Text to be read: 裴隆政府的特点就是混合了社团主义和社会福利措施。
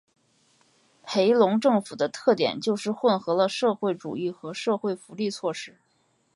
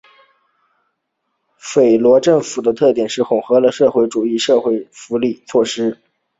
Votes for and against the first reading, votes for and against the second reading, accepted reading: 2, 0, 1, 2, first